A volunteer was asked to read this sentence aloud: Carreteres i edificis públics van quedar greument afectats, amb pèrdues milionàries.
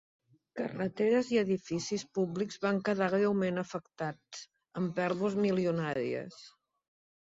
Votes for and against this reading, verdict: 2, 0, accepted